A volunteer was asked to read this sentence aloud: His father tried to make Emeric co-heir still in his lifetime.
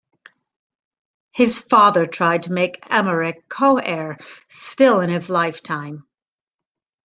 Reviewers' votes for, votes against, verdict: 2, 0, accepted